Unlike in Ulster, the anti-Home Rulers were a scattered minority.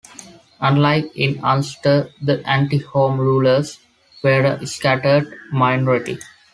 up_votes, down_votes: 2, 0